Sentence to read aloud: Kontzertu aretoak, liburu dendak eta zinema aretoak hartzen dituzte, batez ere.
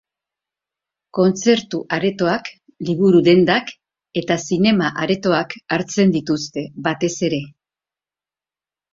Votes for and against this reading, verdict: 4, 0, accepted